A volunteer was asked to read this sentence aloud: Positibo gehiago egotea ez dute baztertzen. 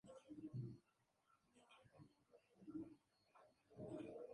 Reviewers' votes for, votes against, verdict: 0, 2, rejected